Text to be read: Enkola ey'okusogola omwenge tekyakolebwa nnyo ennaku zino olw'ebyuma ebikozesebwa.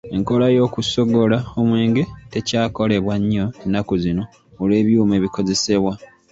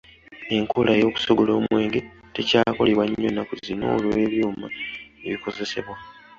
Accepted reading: second